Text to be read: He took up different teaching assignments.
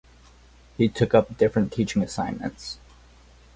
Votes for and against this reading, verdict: 4, 0, accepted